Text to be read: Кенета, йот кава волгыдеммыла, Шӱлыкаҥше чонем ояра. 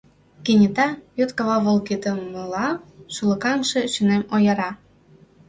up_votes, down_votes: 0, 2